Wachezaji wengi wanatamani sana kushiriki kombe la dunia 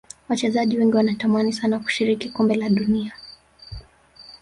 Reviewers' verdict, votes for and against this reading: rejected, 1, 2